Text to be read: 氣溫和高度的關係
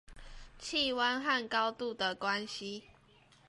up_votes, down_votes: 2, 0